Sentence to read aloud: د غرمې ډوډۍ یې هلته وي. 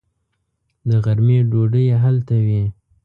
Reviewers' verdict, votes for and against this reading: accepted, 2, 0